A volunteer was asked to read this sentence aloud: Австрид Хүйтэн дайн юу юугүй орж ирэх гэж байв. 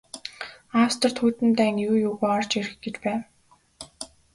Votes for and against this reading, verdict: 2, 0, accepted